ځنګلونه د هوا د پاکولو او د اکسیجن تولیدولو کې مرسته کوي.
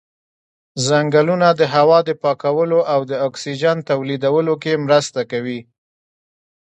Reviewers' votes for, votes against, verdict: 2, 0, accepted